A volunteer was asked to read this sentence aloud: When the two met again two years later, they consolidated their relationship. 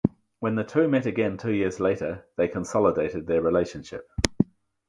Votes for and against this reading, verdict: 4, 0, accepted